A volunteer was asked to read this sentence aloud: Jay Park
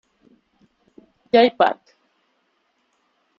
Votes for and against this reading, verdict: 1, 2, rejected